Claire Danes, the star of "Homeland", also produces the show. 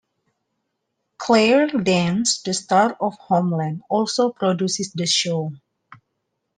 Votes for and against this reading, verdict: 2, 0, accepted